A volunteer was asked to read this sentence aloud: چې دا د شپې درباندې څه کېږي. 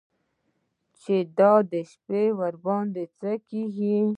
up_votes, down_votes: 2, 1